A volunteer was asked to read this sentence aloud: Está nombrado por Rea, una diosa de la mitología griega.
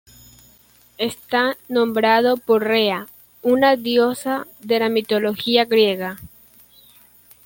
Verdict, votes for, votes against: accepted, 2, 0